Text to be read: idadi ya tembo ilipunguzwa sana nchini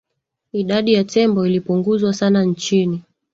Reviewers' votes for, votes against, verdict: 3, 0, accepted